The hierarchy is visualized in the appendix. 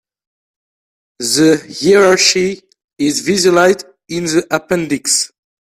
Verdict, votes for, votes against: rejected, 0, 3